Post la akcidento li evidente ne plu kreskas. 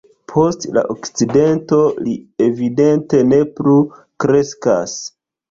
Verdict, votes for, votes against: rejected, 1, 3